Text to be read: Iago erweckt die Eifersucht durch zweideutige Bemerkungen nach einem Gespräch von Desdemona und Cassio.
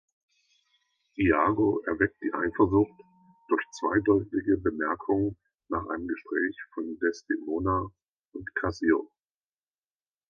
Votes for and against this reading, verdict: 2, 0, accepted